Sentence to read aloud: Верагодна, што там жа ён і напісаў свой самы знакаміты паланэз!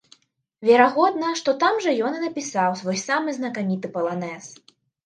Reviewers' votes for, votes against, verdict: 2, 0, accepted